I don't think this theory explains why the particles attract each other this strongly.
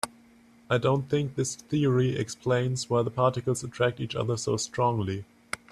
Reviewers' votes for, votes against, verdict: 2, 4, rejected